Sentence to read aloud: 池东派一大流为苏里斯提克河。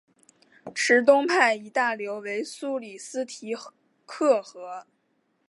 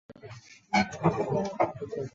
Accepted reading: first